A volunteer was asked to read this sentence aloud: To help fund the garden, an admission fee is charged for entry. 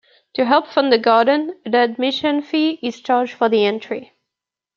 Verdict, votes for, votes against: rejected, 0, 2